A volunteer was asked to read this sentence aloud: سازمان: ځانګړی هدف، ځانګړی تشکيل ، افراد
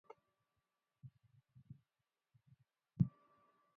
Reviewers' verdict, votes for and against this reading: rejected, 0, 4